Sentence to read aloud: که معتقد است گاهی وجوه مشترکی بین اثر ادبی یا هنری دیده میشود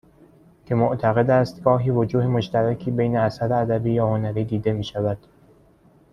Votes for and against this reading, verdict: 2, 0, accepted